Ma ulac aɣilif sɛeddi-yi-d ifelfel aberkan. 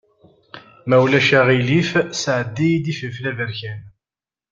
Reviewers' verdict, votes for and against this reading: accepted, 2, 0